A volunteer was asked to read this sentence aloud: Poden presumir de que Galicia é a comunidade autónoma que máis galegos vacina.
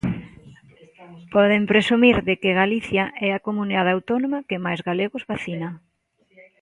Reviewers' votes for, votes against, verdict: 2, 0, accepted